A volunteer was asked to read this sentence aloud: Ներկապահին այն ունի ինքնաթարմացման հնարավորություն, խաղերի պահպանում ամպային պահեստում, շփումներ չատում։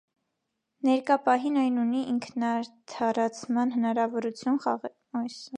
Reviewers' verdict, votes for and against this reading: rejected, 0, 2